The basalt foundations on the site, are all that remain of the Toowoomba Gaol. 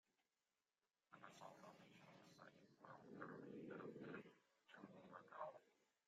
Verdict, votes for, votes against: rejected, 0, 2